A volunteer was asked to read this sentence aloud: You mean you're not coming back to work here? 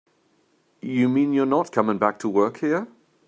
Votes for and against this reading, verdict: 4, 0, accepted